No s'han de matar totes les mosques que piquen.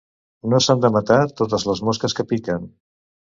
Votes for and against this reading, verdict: 2, 0, accepted